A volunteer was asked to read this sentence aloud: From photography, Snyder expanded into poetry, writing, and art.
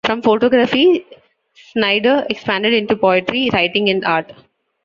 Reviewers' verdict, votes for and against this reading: accepted, 2, 0